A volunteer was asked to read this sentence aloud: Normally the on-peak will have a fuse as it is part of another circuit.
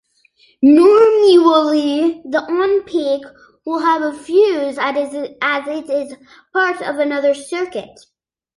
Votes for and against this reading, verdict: 1, 2, rejected